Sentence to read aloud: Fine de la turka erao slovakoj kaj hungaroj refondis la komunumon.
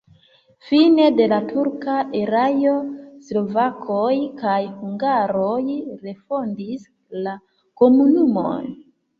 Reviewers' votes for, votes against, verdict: 1, 2, rejected